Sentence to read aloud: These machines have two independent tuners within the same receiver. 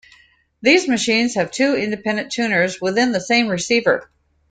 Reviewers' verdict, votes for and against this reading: accepted, 2, 0